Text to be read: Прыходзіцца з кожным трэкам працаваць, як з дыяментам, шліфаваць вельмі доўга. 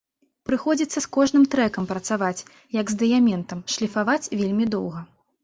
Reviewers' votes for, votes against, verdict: 2, 0, accepted